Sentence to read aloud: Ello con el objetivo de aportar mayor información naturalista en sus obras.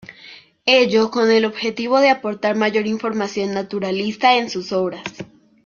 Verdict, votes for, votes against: accepted, 2, 0